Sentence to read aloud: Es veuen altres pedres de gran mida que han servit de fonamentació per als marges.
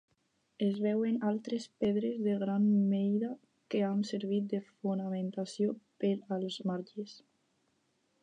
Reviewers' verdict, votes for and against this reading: rejected, 2, 2